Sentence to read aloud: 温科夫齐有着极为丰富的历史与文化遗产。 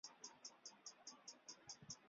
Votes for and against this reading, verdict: 0, 4, rejected